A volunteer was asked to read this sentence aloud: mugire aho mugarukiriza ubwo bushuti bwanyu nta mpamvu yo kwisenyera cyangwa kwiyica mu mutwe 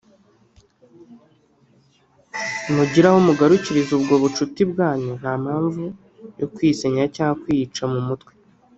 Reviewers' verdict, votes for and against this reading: rejected, 0, 2